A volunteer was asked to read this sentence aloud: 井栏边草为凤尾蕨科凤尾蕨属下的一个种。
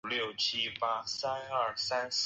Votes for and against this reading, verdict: 2, 1, accepted